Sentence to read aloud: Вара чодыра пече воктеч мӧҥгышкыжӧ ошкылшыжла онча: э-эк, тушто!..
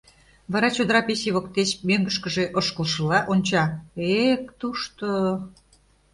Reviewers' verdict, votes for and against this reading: rejected, 1, 2